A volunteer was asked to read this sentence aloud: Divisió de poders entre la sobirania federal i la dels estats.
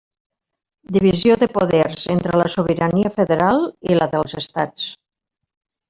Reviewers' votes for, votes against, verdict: 3, 0, accepted